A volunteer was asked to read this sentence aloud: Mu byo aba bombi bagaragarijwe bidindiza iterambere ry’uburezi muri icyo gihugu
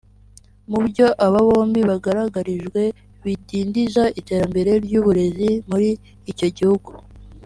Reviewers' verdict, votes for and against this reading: rejected, 1, 2